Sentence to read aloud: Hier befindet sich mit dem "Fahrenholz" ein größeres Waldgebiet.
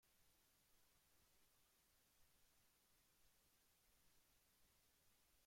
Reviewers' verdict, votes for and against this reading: rejected, 0, 2